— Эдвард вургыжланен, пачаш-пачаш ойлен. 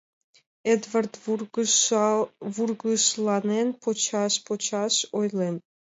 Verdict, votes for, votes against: rejected, 0, 2